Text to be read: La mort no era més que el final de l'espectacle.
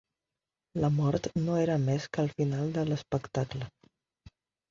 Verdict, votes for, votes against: accepted, 4, 0